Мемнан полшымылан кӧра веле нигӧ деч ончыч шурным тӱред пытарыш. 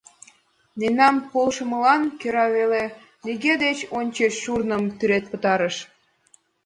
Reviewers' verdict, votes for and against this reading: accepted, 2, 0